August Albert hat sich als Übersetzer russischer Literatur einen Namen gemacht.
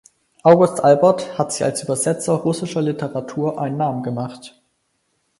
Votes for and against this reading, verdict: 4, 0, accepted